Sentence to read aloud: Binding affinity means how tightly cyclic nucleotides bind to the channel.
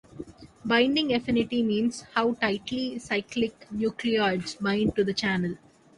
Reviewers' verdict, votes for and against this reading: rejected, 1, 2